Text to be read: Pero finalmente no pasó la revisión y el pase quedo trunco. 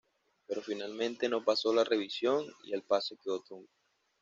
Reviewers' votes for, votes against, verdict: 0, 2, rejected